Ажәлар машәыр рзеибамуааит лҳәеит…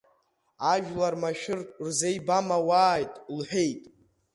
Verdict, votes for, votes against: rejected, 0, 2